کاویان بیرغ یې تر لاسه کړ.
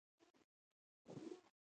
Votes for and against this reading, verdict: 0, 2, rejected